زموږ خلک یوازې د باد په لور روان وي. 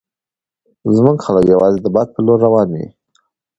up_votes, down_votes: 2, 0